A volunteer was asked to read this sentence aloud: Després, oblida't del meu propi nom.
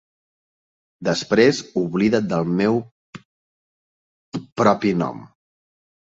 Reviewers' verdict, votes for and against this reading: rejected, 0, 3